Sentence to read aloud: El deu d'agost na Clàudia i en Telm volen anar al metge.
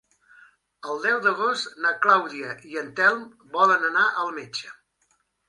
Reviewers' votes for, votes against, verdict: 3, 0, accepted